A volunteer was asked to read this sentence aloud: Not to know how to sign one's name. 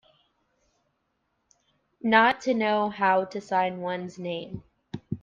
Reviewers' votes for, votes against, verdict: 2, 0, accepted